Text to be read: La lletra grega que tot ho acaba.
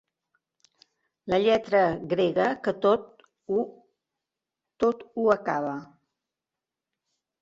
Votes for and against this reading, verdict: 3, 1, accepted